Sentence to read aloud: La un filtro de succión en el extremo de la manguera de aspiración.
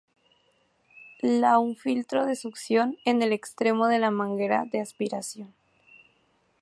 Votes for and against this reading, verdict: 2, 0, accepted